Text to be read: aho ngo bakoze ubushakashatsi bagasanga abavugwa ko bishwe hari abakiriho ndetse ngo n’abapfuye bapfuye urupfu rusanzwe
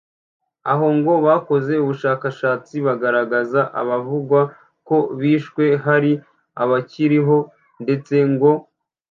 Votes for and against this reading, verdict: 1, 2, rejected